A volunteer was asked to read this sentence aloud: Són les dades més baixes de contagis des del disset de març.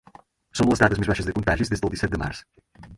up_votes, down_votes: 0, 4